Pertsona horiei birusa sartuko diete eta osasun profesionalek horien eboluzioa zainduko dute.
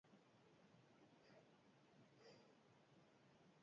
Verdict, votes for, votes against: rejected, 0, 6